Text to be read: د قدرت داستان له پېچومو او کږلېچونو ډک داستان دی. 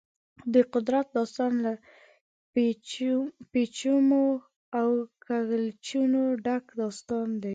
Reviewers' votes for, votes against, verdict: 2, 1, accepted